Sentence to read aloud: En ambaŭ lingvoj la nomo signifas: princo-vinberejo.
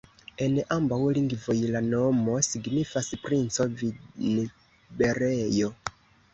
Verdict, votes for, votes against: rejected, 0, 2